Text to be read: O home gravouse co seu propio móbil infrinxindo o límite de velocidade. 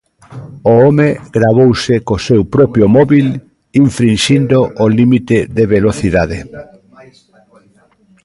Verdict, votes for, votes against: rejected, 1, 2